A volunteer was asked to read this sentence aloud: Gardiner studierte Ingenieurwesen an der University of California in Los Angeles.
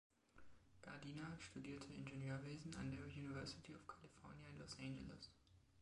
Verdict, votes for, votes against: accepted, 2, 1